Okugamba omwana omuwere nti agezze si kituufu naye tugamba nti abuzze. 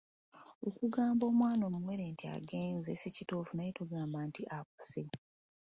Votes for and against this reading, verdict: 2, 0, accepted